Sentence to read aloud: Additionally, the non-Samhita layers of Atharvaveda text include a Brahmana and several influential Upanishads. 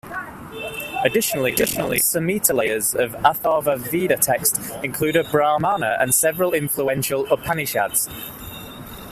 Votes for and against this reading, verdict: 0, 2, rejected